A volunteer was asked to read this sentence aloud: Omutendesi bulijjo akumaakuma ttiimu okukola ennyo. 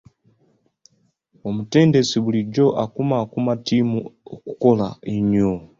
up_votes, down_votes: 2, 1